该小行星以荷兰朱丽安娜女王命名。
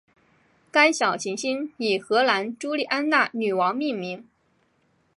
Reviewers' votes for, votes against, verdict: 2, 0, accepted